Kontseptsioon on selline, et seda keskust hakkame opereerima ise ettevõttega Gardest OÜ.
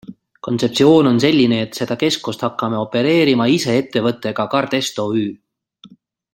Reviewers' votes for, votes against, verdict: 2, 0, accepted